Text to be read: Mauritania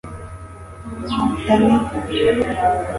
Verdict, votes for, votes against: rejected, 1, 2